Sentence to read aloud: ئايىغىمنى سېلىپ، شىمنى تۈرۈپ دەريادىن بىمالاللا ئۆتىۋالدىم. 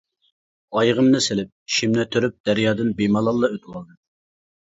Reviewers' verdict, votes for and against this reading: accepted, 2, 0